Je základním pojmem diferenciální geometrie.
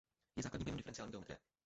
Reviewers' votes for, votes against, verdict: 0, 2, rejected